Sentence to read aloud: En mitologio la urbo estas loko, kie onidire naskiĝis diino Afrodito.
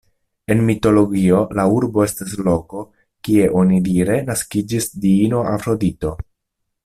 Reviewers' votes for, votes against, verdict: 2, 0, accepted